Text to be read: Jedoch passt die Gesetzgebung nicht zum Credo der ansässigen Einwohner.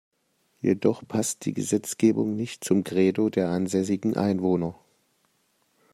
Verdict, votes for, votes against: accepted, 2, 0